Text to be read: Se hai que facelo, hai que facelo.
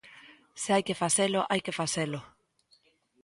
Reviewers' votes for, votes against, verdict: 2, 0, accepted